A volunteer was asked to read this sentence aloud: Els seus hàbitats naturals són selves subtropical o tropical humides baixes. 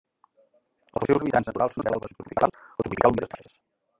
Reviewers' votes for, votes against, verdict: 0, 2, rejected